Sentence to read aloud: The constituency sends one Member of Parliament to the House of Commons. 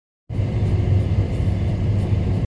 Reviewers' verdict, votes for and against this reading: rejected, 0, 2